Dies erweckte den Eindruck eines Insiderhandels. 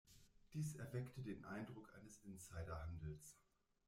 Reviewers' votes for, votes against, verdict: 1, 2, rejected